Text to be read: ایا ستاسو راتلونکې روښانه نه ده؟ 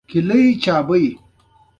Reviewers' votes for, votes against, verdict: 1, 2, rejected